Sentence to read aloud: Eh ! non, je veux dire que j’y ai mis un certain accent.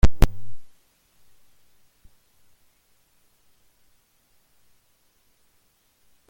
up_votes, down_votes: 0, 2